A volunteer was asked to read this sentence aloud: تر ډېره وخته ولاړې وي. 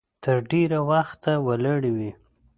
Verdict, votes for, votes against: accepted, 2, 0